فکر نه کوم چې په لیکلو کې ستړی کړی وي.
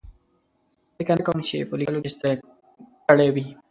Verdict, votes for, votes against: rejected, 1, 2